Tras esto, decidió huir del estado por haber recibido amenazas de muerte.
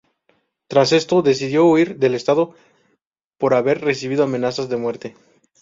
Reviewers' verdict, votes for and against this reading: rejected, 2, 2